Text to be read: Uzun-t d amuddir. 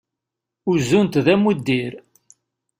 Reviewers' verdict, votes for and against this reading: accepted, 2, 0